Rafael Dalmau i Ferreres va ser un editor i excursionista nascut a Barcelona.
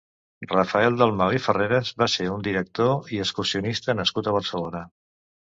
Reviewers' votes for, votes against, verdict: 0, 3, rejected